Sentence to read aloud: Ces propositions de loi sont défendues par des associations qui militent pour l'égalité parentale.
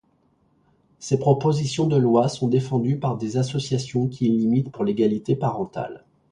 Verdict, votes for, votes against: rejected, 0, 2